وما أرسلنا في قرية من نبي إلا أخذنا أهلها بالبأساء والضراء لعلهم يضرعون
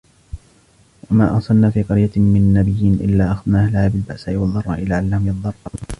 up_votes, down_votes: 2, 1